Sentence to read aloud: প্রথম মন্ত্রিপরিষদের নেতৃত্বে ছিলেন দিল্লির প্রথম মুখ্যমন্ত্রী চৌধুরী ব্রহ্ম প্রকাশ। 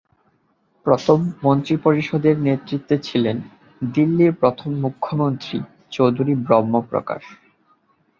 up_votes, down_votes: 12, 0